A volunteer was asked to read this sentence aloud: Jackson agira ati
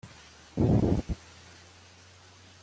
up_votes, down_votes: 0, 2